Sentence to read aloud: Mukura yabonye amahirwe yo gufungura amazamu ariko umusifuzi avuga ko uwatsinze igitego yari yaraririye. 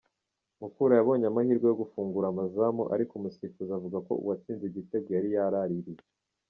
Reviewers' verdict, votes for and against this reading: accepted, 2, 0